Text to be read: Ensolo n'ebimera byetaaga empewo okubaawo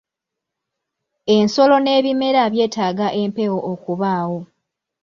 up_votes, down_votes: 2, 0